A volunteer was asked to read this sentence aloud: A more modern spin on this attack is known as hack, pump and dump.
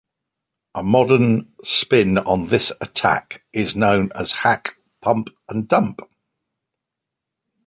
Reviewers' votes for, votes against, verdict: 1, 2, rejected